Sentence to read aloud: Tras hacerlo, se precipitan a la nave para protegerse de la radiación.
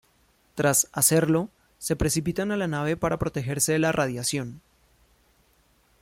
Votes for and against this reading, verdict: 2, 0, accepted